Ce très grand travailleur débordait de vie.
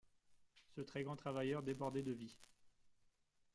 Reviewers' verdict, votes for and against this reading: accepted, 2, 0